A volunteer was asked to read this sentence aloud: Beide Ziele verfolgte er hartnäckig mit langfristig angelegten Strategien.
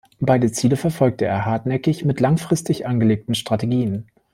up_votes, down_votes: 2, 0